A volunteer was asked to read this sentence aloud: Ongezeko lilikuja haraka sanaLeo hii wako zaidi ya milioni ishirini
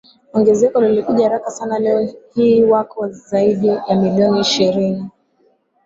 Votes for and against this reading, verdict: 2, 1, accepted